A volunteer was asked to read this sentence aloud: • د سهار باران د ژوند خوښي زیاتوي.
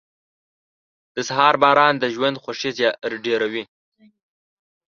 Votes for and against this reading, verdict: 0, 2, rejected